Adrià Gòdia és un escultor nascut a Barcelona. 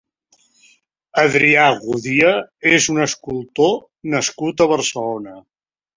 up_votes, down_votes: 0, 2